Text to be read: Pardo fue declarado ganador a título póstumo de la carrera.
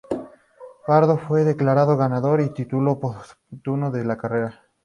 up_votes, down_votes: 0, 2